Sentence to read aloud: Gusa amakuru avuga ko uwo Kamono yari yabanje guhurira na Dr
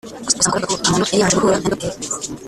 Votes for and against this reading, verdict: 0, 2, rejected